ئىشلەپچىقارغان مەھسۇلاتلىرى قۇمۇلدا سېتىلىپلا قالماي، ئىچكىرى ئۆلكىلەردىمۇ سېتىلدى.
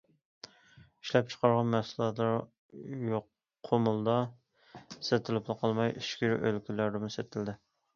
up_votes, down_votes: 0, 2